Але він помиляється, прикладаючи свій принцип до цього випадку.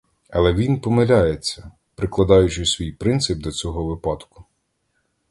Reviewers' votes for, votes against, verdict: 2, 0, accepted